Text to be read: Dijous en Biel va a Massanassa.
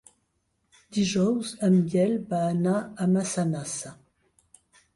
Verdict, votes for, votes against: rejected, 1, 2